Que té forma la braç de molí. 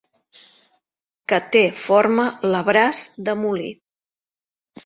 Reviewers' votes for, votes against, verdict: 2, 0, accepted